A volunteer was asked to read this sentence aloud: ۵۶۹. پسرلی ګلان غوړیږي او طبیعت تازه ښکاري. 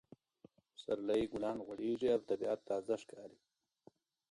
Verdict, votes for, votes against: rejected, 0, 2